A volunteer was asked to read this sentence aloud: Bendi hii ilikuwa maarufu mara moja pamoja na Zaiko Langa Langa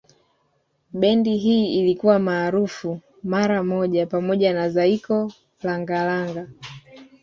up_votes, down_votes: 2, 1